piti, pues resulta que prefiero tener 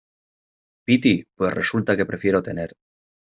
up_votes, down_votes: 2, 0